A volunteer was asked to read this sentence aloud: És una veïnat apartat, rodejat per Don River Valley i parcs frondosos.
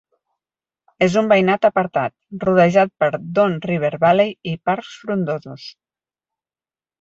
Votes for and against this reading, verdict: 0, 4, rejected